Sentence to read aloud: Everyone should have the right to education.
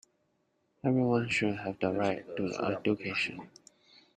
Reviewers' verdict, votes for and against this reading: rejected, 0, 2